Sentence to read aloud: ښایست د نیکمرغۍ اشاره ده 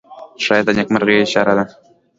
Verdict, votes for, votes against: accepted, 2, 0